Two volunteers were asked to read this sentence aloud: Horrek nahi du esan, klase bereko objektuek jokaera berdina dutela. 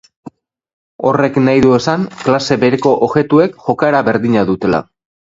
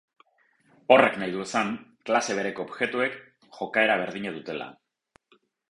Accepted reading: first